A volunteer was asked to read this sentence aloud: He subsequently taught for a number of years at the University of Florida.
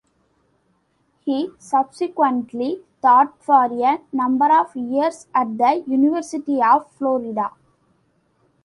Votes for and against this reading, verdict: 2, 0, accepted